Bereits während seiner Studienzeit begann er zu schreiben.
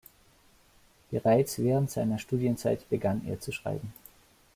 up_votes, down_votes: 2, 0